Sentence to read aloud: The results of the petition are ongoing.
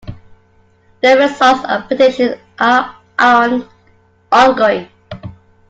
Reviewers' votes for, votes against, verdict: 0, 3, rejected